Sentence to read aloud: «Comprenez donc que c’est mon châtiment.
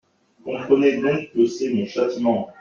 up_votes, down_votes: 2, 0